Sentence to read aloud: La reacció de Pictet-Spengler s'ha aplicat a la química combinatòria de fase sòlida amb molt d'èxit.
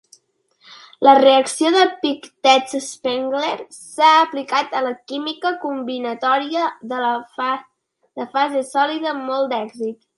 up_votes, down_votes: 0, 2